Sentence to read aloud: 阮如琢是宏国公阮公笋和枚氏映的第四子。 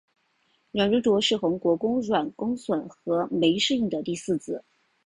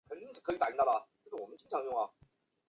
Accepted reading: first